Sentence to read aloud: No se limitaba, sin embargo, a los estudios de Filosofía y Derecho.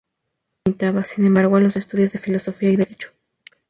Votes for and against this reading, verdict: 2, 2, rejected